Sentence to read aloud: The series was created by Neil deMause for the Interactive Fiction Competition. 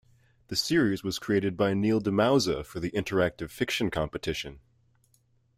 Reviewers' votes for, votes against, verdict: 2, 0, accepted